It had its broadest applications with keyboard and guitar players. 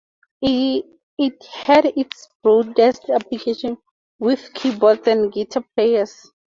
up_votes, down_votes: 0, 2